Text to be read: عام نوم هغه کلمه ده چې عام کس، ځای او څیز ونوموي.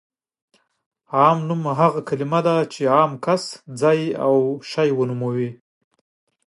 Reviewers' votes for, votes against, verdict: 1, 2, rejected